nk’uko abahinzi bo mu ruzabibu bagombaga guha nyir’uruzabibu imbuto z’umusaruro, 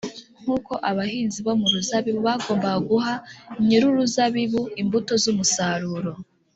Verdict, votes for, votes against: accepted, 2, 0